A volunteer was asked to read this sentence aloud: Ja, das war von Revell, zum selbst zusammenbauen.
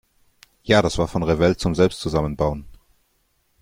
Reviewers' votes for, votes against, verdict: 1, 2, rejected